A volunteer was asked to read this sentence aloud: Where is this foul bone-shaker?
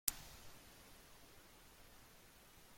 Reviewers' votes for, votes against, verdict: 0, 2, rejected